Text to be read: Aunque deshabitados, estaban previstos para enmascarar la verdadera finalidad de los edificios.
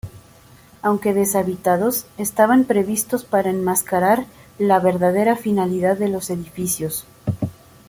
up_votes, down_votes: 2, 0